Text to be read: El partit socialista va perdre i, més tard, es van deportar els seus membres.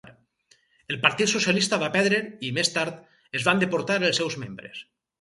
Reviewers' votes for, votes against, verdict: 4, 0, accepted